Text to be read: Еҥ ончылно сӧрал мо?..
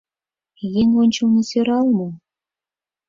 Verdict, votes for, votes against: accepted, 4, 0